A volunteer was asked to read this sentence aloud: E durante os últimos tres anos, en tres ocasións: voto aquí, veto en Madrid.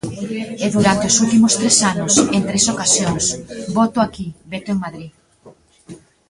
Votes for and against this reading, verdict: 1, 2, rejected